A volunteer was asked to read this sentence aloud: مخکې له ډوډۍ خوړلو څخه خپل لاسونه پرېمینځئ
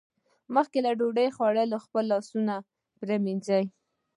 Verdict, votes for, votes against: rejected, 1, 2